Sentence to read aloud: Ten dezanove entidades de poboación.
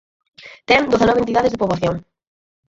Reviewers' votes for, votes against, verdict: 4, 0, accepted